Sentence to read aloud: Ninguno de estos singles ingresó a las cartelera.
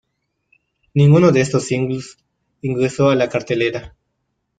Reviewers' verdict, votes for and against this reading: accepted, 2, 1